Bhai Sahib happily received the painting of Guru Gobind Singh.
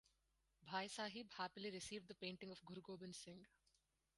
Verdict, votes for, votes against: rejected, 2, 4